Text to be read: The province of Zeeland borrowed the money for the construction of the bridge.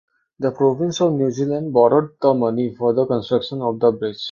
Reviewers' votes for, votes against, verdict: 0, 2, rejected